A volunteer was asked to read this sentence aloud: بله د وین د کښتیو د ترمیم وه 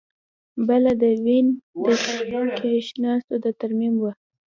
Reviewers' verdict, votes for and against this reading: accepted, 2, 0